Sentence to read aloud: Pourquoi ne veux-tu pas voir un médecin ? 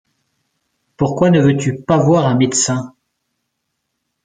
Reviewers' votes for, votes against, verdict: 2, 0, accepted